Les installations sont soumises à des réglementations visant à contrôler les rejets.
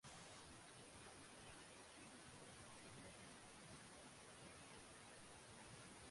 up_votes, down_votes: 0, 2